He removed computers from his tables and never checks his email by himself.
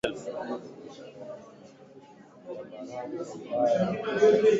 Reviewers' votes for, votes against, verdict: 0, 2, rejected